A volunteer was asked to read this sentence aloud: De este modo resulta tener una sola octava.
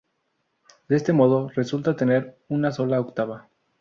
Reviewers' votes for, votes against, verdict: 4, 0, accepted